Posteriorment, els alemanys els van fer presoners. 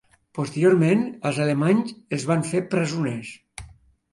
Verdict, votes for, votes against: rejected, 1, 2